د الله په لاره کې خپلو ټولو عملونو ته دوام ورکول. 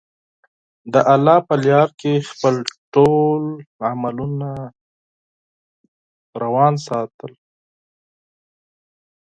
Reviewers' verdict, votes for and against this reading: rejected, 2, 4